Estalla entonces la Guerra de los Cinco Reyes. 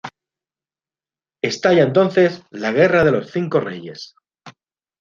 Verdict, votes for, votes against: accepted, 2, 0